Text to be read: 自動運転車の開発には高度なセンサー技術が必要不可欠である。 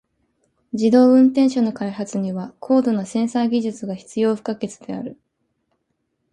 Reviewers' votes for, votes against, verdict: 2, 0, accepted